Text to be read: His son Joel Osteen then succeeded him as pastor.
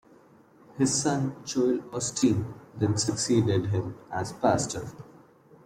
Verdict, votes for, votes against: accepted, 2, 0